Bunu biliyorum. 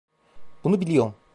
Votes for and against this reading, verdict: 0, 2, rejected